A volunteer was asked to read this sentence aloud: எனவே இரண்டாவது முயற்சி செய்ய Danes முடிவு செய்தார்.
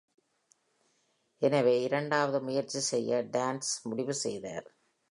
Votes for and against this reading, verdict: 2, 0, accepted